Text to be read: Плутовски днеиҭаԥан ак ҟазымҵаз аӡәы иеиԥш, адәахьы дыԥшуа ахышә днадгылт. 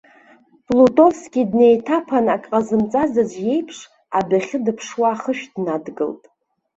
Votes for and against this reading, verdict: 2, 1, accepted